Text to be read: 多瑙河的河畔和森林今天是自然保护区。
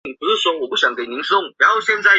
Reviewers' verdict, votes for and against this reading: rejected, 0, 2